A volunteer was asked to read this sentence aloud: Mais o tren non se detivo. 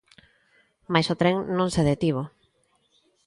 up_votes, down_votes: 2, 0